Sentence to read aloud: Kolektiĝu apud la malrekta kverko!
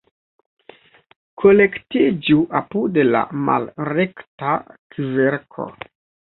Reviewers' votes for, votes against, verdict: 1, 2, rejected